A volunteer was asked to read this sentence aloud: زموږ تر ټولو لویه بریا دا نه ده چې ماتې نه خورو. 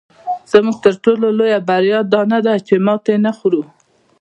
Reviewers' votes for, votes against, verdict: 2, 1, accepted